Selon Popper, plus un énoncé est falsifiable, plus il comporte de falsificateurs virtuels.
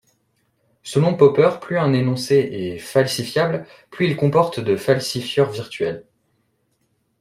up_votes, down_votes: 0, 2